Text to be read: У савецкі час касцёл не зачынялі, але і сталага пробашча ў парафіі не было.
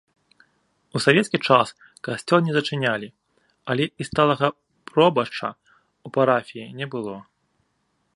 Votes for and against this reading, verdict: 0, 2, rejected